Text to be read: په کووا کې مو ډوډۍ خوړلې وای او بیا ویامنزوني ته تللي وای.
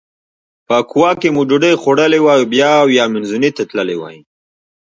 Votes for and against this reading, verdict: 0, 2, rejected